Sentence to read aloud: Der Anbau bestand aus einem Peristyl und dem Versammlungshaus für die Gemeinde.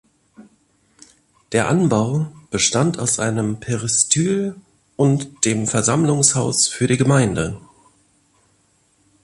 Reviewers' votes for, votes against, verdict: 3, 0, accepted